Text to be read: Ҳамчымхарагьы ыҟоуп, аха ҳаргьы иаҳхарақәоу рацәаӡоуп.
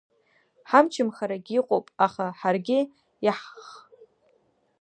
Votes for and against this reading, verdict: 1, 2, rejected